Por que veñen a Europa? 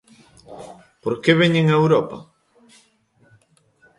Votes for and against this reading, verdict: 2, 0, accepted